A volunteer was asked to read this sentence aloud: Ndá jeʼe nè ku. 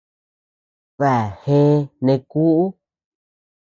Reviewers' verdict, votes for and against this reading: rejected, 0, 2